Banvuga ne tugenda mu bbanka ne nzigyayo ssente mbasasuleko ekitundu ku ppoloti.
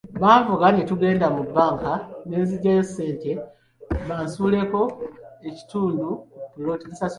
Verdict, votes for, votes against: accepted, 2, 1